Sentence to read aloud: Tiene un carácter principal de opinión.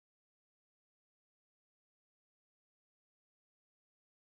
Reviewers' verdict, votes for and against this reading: rejected, 0, 2